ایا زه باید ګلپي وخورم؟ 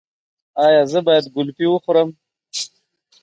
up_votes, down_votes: 3, 0